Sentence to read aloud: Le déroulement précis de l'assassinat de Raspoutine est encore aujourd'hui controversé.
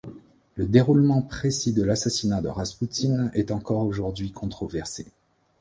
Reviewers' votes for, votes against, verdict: 2, 0, accepted